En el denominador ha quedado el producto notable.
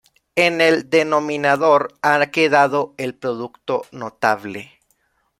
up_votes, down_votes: 0, 2